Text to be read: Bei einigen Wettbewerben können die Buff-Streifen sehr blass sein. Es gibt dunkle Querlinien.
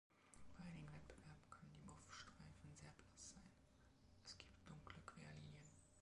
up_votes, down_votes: 1, 2